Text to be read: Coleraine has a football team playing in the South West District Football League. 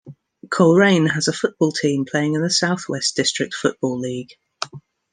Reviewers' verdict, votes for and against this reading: accepted, 2, 0